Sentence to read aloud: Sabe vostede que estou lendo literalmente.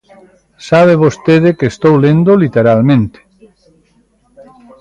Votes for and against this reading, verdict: 2, 0, accepted